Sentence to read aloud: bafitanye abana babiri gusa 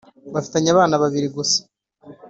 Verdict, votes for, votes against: accepted, 3, 0